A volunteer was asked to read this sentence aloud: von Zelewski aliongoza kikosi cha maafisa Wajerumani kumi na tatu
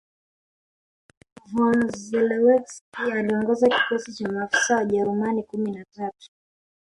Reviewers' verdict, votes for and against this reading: rejected, 1, 3